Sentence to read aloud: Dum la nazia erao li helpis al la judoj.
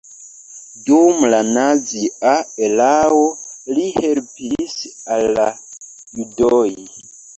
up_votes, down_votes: 1, 3